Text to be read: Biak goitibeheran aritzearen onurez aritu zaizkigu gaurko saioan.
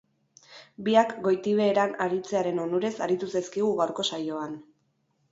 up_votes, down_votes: 2, 2